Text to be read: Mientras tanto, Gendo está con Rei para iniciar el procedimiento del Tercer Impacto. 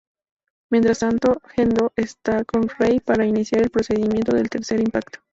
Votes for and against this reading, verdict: 2, 0, accepted